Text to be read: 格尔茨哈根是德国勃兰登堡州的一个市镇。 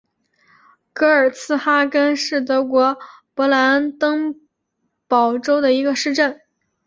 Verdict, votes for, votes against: accepted, 4, 0